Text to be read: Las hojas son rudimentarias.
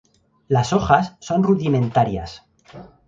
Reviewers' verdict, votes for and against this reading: accepted, 4, 2